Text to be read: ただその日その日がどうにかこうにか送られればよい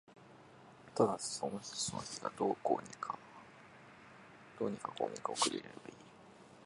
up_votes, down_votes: 0, 2